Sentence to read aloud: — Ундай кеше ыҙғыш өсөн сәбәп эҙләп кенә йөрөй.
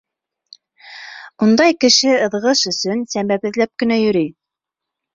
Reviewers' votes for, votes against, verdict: 2, 0, accepted